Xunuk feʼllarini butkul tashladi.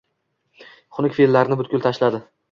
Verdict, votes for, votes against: accepted, 2, 0